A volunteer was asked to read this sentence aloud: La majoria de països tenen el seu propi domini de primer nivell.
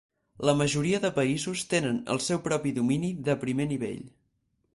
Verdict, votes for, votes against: accepted, 4, 0